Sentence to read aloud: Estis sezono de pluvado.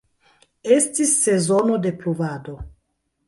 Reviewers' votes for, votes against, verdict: 3, 1, accepted